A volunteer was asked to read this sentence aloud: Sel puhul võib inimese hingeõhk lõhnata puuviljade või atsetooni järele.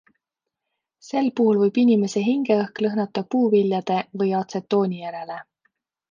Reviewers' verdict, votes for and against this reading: accepted, 2, 0